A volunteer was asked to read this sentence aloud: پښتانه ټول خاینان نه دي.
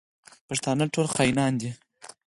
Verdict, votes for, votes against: rejected, 2, 4